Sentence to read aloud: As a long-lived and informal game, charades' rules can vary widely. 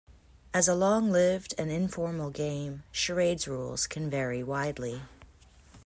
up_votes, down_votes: 2, 0